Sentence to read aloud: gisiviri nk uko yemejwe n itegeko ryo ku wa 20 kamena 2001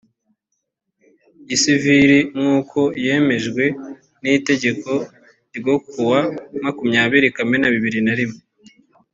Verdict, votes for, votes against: rejected, 0, 2